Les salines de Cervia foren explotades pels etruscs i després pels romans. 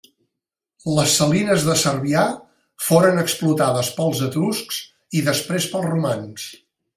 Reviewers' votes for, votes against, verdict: 1, 2, rejected